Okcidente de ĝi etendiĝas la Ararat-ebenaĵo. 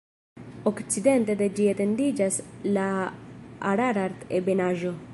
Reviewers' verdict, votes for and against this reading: rejected, 1, 2